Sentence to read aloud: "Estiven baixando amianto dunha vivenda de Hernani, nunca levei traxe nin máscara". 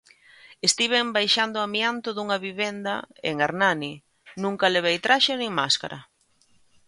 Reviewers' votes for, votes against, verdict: 0, 2, rejected